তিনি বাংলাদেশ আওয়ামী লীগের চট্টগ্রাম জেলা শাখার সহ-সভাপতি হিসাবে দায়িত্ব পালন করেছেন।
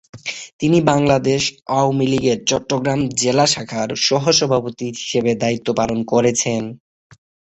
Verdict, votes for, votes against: accepted, 6, 0